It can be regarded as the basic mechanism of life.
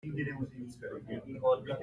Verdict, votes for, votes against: rejected, 0, 2